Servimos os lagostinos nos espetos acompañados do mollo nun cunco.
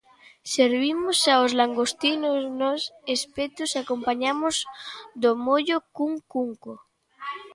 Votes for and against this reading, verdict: 0, 2, rejected